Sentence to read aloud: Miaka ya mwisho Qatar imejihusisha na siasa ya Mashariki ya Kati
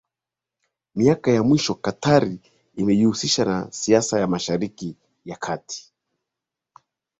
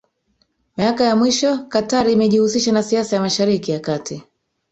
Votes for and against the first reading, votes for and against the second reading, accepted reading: 2, 0, 1, 2, first